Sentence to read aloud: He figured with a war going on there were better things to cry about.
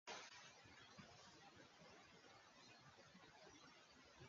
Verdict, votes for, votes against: rejected, 0, 2